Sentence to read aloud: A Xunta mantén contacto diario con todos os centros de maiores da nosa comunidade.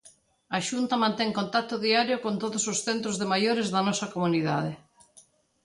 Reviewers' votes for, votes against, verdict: 2, 0, accepted